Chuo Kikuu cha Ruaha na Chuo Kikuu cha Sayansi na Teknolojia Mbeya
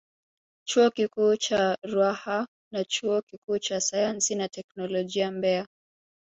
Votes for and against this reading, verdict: 2, 1, accepted